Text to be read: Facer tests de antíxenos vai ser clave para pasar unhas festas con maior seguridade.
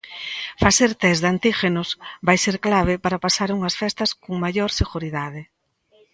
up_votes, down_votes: 1, 2